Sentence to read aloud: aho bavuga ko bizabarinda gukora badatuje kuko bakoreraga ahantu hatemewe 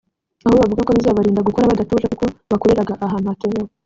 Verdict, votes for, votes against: accepted, 2, 1